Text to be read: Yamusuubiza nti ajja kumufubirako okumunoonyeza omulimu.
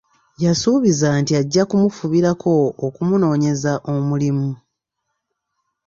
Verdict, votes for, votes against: rejected, 0, 2